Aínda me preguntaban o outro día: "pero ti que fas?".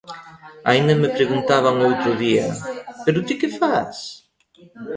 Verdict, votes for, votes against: rejected, 1, 2